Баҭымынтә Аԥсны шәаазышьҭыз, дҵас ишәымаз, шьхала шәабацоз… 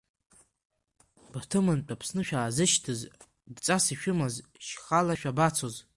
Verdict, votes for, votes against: accepted, 2, 1